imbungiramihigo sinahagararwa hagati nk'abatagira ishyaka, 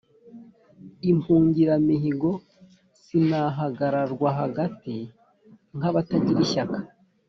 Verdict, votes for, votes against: accepted, 2, 0